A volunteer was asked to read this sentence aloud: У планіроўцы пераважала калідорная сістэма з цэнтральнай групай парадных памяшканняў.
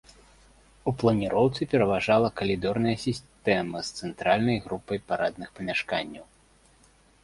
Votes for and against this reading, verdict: 1, 2, rejected